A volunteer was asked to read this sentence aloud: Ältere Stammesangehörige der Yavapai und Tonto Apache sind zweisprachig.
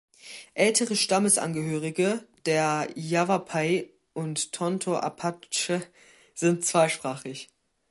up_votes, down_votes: 2, 0